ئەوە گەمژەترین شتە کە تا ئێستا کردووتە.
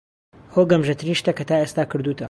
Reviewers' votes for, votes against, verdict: 2, 1, accepted